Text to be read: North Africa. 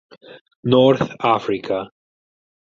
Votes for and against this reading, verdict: 4, 0, accepted